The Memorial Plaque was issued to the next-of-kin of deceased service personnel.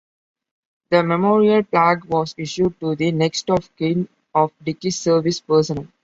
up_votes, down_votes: 2, 0